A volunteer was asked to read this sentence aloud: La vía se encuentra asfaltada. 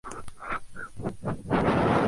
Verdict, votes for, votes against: rejected, 0, 2